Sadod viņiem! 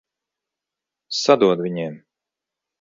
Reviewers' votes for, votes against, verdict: 2, 0, accepted